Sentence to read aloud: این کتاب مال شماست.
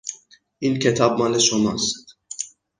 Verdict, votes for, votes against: accepted, 6, 0